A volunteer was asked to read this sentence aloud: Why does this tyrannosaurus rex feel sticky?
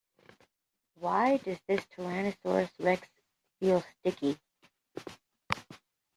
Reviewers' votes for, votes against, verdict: 2, 1, accepted